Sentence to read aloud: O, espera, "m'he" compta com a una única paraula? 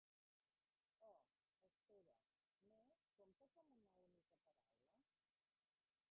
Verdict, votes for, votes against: rejected, 0, 2